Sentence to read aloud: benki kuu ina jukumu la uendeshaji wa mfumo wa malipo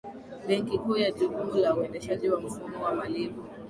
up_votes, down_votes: 4, 2